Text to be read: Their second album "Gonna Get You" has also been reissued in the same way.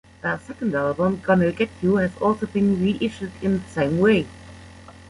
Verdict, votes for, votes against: accepted, 2, 1